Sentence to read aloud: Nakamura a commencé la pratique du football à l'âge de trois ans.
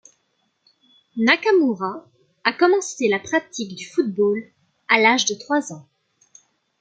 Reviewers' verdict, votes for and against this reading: accepted, 2, 0